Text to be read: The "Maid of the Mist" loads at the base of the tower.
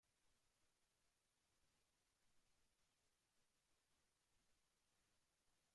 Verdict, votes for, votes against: rejected, 0, 2